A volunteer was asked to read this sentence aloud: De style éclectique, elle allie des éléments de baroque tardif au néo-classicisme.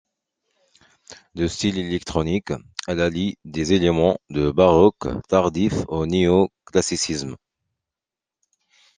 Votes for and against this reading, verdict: 0, 2, rejected